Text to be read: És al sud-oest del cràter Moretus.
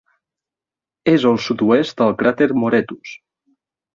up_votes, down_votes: 3, 0